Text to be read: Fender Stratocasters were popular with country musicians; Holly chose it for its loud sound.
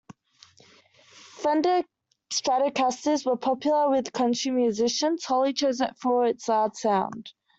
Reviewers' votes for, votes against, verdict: 2, 1, accepted